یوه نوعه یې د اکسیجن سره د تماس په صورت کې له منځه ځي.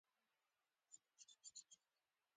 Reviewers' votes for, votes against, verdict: 1, 2, rejected